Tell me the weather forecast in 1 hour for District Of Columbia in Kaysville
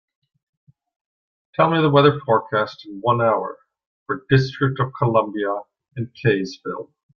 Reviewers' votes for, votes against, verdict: 0, 2, rejected